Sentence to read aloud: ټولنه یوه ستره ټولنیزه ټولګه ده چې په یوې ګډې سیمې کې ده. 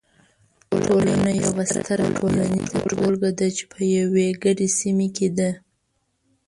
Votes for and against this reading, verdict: 1, 2, rejected